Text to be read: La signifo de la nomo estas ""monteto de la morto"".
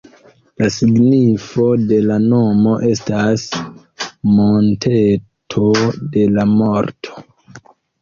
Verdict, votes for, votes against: accepted, 3, 0